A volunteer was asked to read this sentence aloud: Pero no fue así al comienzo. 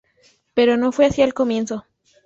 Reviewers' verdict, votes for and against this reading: accepted, 2, 0